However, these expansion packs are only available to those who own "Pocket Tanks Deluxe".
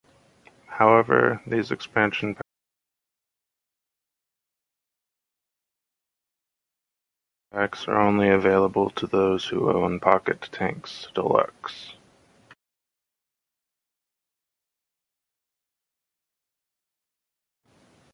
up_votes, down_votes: 0, 2